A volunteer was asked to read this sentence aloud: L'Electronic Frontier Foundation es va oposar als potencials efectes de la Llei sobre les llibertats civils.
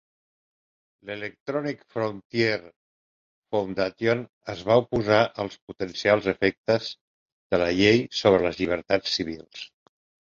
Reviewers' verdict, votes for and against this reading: accepted, 5, 0